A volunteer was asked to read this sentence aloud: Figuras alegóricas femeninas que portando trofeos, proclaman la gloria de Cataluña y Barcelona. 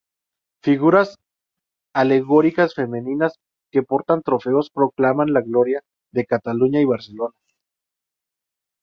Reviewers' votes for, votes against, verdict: 2, 2, rejected